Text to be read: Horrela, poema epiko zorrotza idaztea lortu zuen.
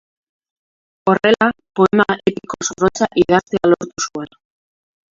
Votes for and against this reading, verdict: 0, 2, rejected